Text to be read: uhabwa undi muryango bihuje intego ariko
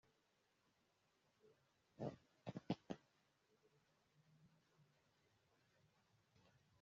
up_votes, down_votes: 0, 2